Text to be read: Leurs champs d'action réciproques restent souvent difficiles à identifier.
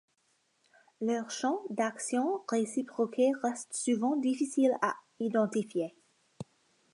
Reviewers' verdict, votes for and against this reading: rejected, 0, 2